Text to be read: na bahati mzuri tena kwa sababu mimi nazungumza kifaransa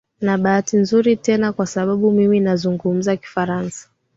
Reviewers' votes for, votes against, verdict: 3, 0, accepted